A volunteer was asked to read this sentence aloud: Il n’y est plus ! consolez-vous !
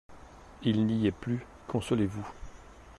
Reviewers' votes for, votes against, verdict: 2, 0, accepted